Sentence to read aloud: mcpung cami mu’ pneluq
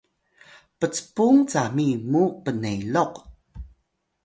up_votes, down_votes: 1, 2